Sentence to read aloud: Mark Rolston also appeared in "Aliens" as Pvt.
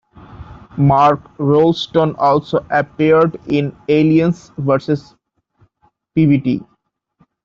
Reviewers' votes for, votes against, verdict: 0, 2, rejected